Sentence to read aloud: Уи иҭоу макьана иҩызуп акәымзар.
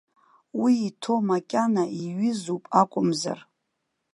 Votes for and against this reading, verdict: 1, 2, rejected